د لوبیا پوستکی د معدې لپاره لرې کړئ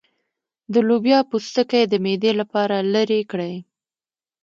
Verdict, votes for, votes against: accepted, 2, 0